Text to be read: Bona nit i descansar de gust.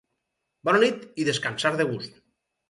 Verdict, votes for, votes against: rejected, 2, 2